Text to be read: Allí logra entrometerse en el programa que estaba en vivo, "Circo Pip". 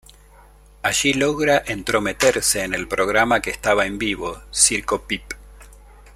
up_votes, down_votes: 2, 0